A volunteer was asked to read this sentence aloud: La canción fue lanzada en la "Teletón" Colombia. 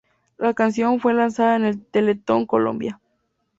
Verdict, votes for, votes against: rejected, 0, 4